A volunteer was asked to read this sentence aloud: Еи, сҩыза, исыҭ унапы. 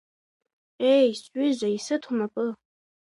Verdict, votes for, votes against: accepted, 2, 0